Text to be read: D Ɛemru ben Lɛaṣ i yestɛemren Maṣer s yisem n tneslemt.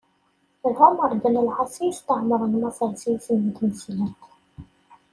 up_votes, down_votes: 0, 2